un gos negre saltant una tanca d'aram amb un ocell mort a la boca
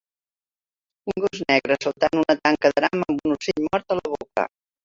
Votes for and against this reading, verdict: 0, 2, rejected